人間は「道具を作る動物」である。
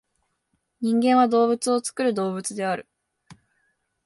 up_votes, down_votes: 1, 2